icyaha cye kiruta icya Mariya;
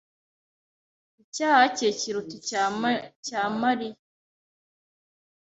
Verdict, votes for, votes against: rejected, 1, 2